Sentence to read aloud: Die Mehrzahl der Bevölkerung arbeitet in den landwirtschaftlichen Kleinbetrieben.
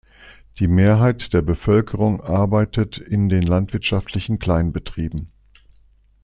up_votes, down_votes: 0, 2